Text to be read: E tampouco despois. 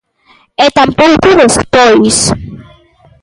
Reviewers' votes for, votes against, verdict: 2, 0, accepted